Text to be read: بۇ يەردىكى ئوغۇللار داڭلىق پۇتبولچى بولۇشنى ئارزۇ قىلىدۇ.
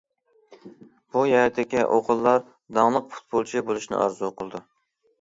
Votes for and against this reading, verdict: 1, 2, rejected